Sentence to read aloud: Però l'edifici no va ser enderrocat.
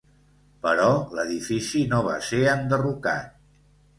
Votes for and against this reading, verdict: 2, 0, accepted